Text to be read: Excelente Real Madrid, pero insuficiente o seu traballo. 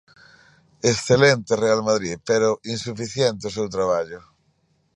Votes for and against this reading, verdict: 2, 1, accepted